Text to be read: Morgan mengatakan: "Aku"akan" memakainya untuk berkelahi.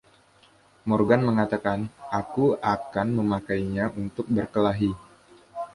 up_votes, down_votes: 1, 2